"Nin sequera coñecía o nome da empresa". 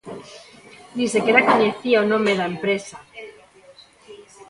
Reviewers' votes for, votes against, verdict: 1, 2, rejected